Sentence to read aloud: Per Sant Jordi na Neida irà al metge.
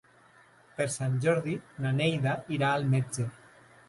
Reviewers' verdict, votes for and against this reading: accepted, 3, 0